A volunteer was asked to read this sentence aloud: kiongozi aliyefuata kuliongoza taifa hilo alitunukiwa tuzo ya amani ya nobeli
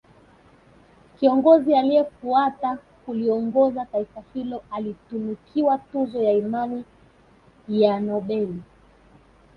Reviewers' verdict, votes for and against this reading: rejected, 1, 4